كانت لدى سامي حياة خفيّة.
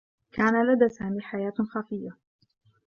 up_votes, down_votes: 1, 2